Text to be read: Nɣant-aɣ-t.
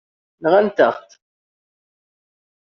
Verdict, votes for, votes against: rejected, 1, 2